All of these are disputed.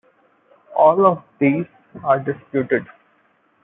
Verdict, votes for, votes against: accepted, 2, 0